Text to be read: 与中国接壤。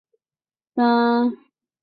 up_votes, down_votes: 2, 4